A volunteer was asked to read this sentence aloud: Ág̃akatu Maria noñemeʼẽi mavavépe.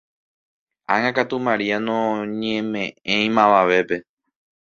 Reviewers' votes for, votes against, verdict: 2, 0, accepted